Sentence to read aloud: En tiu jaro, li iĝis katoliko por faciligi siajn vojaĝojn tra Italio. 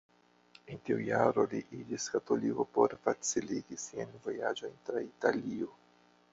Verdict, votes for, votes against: rejected, 0, 2